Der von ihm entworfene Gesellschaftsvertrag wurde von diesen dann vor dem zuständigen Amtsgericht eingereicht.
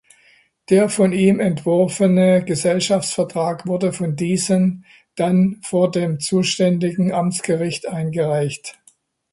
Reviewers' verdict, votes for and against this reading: accepted, 2, 0